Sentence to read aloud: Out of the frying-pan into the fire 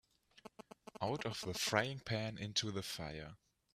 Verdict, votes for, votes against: accepted, 2, 1